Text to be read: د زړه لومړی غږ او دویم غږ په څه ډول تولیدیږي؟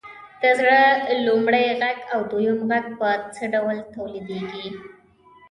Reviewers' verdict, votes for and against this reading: rejected, 1, 2